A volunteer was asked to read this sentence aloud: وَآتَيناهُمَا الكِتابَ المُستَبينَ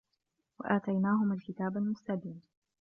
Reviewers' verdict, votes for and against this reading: accepted, 2, 0